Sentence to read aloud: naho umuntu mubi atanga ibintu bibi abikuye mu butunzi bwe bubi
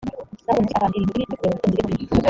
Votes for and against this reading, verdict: 1, 3, rejected